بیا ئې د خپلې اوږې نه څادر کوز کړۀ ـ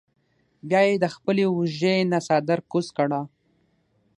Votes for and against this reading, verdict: 6, 0, accepted